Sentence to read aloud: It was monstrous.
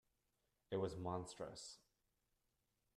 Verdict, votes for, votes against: accepted, 2, 0